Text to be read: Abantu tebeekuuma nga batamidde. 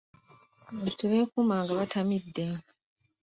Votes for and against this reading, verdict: 2, 1, accepted